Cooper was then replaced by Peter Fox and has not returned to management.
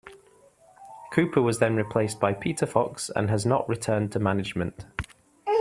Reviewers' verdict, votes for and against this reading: accepted, 2, 0